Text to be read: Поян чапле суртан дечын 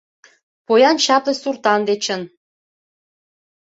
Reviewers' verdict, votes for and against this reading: accepted, 2, 0